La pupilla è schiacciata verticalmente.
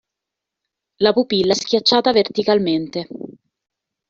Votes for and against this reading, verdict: 1, 2, rejected